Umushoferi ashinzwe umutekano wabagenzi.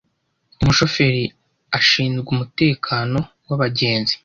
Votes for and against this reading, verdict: 2, 0, accepted